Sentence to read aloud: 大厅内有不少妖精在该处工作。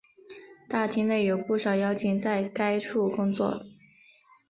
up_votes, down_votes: 9, 1